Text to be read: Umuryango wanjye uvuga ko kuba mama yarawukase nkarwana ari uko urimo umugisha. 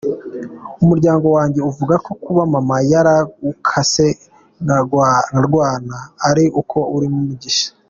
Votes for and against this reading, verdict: 0, 2, rejected